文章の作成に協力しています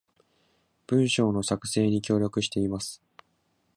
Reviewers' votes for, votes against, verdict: 2, 0, accepted